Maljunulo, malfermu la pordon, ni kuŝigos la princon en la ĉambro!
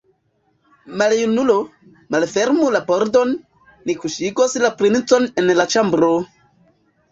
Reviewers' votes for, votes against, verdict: 2, 0, accepted